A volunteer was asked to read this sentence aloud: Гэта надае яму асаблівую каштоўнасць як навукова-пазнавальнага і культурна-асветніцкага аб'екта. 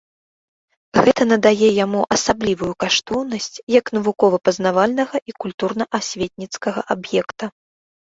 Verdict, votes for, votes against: accepted, 2, 0